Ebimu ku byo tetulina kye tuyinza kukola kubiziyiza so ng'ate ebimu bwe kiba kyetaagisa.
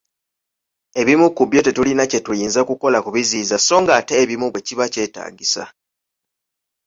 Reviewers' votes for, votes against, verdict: 2, 1, accepted